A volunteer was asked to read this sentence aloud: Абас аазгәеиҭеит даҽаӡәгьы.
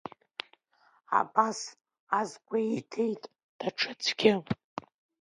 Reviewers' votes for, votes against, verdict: 1, 2, rejected